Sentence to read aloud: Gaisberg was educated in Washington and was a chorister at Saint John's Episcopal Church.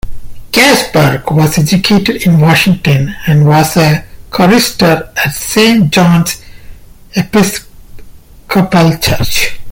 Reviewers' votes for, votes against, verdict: 1, 2, rejected